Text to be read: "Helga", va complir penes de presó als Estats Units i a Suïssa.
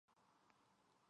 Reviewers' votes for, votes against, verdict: 0, 2, rejected